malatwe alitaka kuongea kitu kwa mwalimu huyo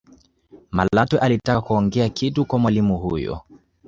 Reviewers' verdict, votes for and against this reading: accepted, 2, 0